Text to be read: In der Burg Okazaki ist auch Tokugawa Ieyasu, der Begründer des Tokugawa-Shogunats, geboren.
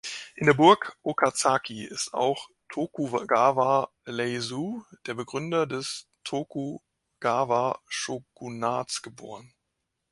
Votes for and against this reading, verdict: 2, 5, rejected